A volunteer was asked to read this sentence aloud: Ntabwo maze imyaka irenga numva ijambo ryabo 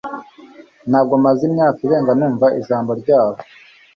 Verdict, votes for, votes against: accepted, 2, 0